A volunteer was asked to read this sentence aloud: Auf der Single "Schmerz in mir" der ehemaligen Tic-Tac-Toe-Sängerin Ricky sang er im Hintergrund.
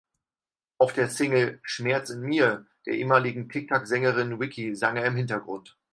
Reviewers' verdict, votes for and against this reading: rejected, 2, 4